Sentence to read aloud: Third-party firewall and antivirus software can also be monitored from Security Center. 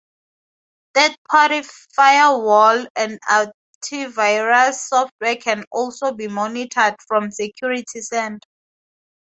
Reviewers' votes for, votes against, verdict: 4, 0, accepted